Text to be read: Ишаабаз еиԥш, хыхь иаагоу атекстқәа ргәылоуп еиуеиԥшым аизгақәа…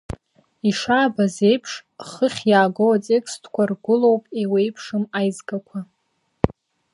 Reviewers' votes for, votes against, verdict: 2, 0, accepted